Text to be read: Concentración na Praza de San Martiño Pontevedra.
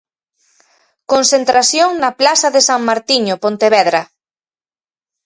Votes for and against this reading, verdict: 0, 4, rejected